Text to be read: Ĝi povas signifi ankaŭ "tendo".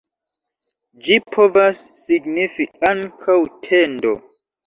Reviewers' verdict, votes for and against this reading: accepted, 2, 0